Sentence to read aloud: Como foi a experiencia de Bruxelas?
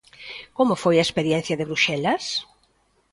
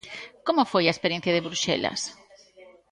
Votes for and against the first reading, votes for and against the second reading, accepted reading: 2, 0, 1, 2, first